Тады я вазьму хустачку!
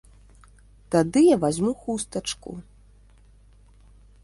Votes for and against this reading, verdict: 2, 0, accepted